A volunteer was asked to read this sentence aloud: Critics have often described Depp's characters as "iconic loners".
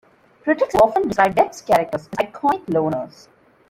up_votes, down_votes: 0, 2